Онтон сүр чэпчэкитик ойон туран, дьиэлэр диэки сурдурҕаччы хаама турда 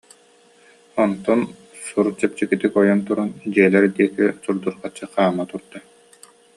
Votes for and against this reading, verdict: 2, 1, accepted